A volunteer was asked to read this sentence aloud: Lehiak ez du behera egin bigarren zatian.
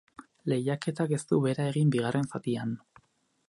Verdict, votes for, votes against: rejected, 2, 4